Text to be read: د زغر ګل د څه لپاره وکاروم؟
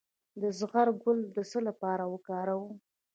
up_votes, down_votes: 2, 0